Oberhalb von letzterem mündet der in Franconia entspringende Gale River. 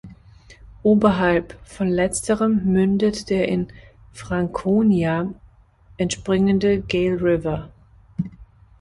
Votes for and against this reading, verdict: 2, 1, accepted